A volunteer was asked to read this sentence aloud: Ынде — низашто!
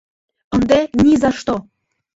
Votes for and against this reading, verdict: 1, 2, rejected